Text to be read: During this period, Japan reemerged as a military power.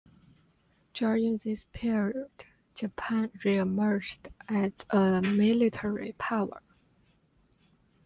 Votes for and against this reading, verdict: 2, 1, accepted